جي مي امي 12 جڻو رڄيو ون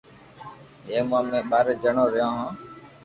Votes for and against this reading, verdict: 0, 2, rejected